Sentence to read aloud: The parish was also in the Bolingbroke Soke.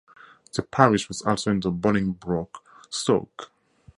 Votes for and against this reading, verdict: 0, 2, rejected